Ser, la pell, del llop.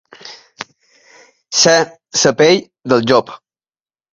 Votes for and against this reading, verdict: 1, 2, rejected